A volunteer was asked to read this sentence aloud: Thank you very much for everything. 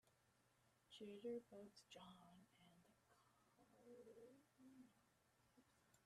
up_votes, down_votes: 0, 2